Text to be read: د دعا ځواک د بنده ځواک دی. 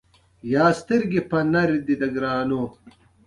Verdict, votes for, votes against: rejected, 0, 2